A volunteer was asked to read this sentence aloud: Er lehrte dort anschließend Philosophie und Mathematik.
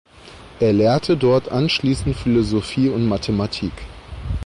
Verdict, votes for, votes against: accepted, 2, 0